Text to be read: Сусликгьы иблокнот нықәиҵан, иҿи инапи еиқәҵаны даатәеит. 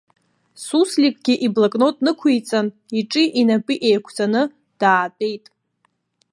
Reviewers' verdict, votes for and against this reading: accepted, 2, 0